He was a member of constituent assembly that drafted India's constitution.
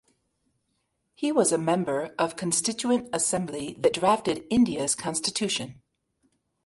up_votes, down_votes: 3, 0